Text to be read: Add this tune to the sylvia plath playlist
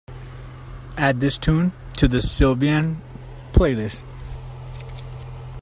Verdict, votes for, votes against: rejected, 0, 2